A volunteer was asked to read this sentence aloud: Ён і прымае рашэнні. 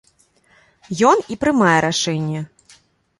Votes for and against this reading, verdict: 1, 2, rejected